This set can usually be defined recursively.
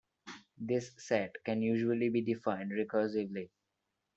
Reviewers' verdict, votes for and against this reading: accepted, 2, 1